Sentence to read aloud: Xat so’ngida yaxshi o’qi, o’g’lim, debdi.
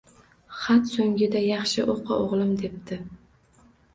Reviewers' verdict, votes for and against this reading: accepted, 2, 0